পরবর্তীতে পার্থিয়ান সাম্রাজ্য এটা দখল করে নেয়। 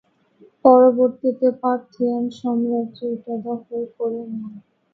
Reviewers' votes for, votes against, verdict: 0, 3, rejected